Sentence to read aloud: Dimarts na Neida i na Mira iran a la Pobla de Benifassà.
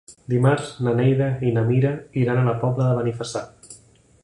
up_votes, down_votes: 3, 0